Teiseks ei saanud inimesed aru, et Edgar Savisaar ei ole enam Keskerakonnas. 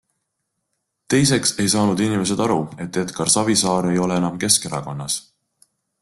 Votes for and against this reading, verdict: 2, 0, accepted